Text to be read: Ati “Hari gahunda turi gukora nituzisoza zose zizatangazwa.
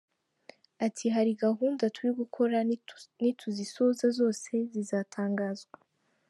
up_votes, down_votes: 0, 2